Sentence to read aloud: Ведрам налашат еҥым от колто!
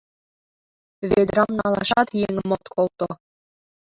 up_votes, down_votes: 2, 1